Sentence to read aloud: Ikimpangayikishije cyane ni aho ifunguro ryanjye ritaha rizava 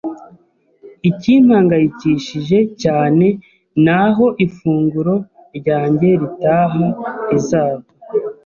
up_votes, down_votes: 2, 0